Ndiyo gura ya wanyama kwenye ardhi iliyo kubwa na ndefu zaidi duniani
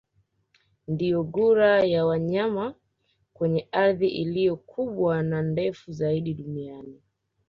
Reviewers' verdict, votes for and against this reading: rejected, 1, 2